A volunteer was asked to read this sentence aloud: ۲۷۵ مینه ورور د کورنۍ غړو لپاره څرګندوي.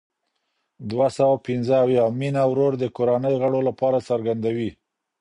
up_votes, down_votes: 0, 2